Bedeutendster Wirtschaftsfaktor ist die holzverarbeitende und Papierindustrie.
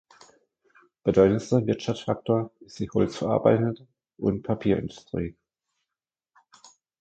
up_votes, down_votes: 0, 2